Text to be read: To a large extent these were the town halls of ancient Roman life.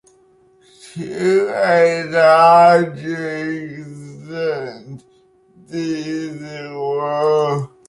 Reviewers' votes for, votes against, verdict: 0, 2, rejected